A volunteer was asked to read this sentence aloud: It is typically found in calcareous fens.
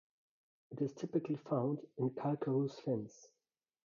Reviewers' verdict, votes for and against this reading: rejected, 0, 2